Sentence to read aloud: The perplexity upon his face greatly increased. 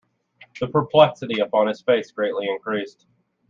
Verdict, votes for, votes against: accepted, 2, 0